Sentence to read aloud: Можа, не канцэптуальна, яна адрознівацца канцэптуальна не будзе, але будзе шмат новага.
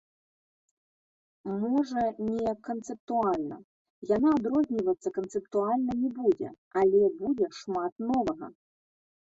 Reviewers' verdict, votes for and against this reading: rejected, 1, 2